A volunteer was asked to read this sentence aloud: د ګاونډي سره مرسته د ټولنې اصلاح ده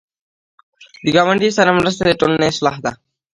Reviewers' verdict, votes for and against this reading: rejected, 1, 2